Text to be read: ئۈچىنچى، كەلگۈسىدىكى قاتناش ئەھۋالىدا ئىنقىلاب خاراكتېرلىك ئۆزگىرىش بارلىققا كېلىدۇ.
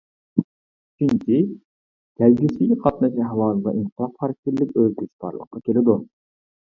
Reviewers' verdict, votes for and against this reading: rejected, 1, 2